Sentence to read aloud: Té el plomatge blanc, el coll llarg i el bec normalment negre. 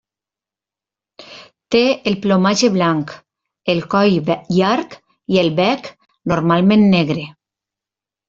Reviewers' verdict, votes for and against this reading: rejected, 0, 2